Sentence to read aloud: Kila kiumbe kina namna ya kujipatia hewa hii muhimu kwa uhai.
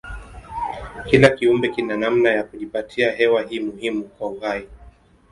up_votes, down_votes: 6, 6